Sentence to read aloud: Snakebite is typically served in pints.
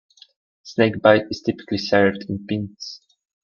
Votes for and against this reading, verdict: 0, 2, rejected